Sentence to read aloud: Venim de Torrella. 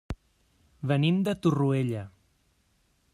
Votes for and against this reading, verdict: 0, 2, rejected